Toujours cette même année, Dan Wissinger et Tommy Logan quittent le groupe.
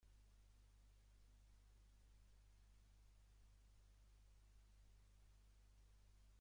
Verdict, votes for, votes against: rejected, 0, 2